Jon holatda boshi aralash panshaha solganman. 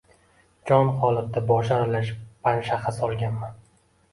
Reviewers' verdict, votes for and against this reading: accepted, 2, 0